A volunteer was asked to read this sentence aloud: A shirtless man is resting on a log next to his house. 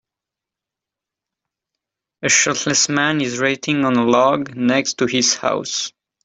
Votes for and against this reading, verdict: 0, 3, rejected